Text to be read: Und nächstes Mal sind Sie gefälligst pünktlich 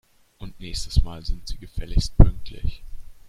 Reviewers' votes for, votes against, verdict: 2, 0, accepted